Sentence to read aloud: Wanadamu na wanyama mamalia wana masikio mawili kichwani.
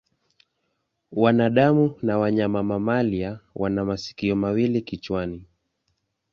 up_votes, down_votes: 2, 0